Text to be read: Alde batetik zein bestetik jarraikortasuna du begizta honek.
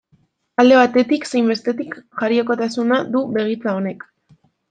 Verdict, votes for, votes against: rejected, 0, 2